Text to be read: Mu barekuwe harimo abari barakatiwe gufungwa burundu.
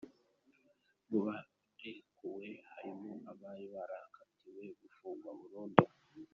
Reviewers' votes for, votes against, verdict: 0, 2, rejected